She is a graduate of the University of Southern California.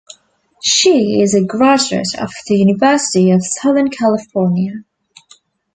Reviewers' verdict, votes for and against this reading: accepted, 2, 0